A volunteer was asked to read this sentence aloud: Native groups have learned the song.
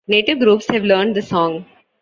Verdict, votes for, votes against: accepted, 2, 0